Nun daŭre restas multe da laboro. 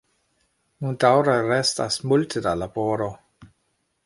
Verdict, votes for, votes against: rejected, 1, 2